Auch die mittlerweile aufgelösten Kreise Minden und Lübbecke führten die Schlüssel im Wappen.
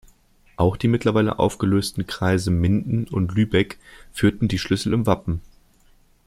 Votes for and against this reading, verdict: 0, 2, rejected